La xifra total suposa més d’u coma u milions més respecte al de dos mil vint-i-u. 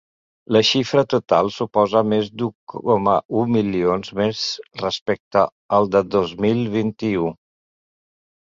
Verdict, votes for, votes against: rejected, 1, 2